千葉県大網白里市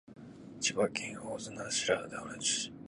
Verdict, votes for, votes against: rejected, 1, 2